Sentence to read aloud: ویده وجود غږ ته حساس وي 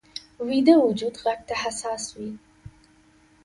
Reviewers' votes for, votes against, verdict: 2, 0, accepted